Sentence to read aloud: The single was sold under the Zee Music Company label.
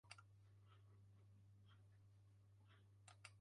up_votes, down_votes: 0, 3